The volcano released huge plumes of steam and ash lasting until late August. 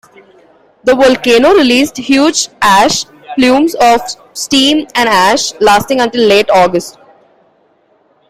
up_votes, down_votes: 1, 2